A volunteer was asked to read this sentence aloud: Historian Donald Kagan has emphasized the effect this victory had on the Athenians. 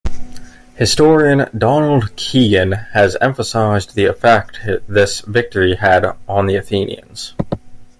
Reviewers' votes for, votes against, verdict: 1, 2, rejected